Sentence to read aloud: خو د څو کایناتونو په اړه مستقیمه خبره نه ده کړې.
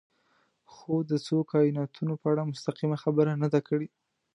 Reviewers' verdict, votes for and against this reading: accepted, 2, 0